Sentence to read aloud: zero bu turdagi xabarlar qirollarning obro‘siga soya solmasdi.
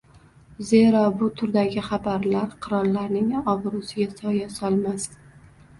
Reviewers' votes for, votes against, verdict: 2, 0, accepted